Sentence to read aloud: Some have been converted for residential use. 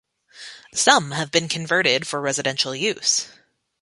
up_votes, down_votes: 2, 0